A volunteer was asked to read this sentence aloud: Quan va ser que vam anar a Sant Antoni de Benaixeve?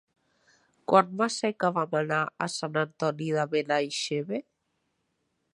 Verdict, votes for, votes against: accepted, 2, 1